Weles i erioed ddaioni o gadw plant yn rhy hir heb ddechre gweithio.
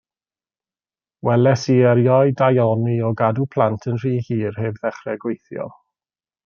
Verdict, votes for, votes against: rejected, 1, 2